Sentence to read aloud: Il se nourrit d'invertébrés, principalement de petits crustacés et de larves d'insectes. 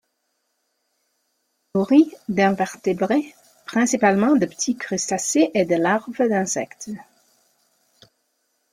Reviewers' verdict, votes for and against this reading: rejected, 0, 2